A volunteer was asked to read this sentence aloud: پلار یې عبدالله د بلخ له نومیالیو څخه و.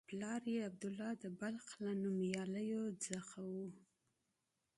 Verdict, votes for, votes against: accepted, 2, 0